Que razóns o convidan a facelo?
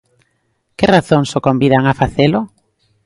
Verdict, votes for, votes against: accepted, 2, 0